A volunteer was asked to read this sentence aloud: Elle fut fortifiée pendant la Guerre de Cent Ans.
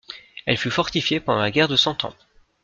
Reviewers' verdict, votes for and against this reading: accepted, 2, 0